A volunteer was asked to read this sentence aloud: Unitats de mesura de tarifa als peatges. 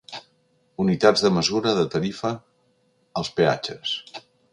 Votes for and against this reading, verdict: 4, 1, accepted